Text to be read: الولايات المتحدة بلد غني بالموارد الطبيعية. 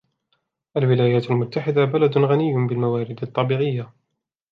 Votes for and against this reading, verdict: 2, 1, accepted